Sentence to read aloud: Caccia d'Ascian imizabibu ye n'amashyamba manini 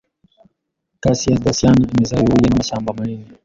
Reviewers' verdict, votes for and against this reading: rejected, 1, 2